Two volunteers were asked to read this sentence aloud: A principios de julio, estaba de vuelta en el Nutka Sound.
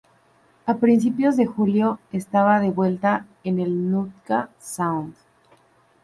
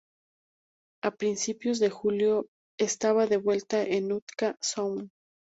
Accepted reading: first